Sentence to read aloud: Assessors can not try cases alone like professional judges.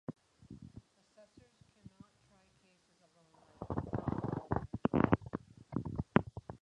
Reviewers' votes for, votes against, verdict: 0, 4, rejected